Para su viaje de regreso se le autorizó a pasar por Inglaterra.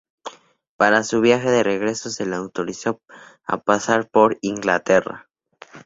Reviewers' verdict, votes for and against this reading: accepted, 2, 0